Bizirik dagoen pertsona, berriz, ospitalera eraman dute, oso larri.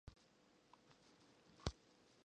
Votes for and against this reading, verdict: 0, 2, rejected